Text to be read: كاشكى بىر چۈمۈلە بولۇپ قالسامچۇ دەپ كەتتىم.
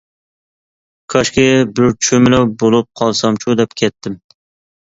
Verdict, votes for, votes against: accepted, 2, 0